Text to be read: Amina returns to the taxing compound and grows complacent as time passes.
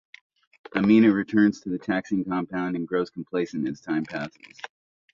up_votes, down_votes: 2, 0